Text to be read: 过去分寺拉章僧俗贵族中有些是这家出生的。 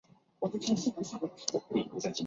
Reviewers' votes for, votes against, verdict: 1, 2, rejected